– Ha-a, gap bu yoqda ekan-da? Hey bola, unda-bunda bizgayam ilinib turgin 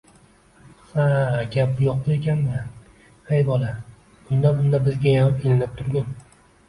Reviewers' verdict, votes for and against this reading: accepted, 2, 1